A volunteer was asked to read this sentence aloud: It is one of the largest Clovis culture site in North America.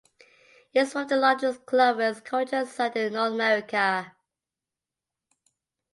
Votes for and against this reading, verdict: 1, 2, rejected